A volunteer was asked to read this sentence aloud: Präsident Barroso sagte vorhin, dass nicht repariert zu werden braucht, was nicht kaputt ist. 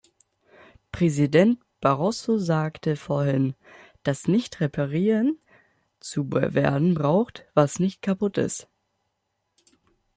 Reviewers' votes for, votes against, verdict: 0, 2, rejected